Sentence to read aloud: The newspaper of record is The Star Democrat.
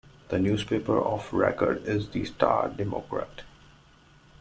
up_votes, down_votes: 2, 0